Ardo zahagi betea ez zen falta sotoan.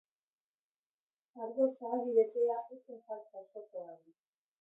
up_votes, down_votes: 0, 2